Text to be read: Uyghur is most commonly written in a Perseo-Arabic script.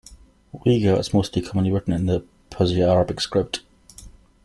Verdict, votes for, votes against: accepted, 2, 0